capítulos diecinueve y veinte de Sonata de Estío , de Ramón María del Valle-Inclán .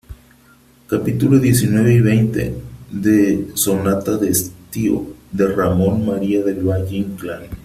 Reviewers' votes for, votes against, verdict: 1, 3, rejected